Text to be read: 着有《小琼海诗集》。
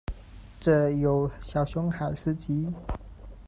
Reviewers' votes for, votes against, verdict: 0, 2, rejected